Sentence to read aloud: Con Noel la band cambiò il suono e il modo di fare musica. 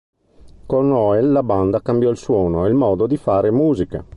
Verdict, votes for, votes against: accepted, 2, 0